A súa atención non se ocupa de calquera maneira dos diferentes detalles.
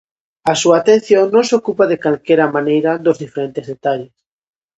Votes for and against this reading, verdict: 2, 0, accepted